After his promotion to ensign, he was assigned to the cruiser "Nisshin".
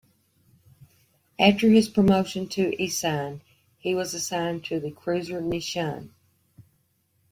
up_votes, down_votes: 1, 2